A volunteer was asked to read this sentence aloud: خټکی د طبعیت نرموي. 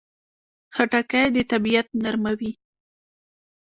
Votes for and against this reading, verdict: 2, 1, accepted